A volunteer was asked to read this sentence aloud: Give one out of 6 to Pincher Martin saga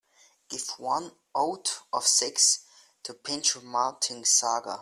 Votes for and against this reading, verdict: 0, 2, rejected